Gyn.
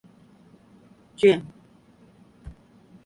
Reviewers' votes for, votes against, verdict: 5, 0, accepted